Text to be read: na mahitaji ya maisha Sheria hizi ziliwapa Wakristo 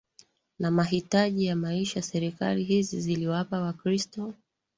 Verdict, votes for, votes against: rejected, 0, 2